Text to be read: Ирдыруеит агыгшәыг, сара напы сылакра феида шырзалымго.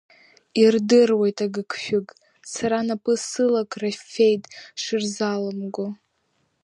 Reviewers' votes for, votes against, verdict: 1, 3, rejected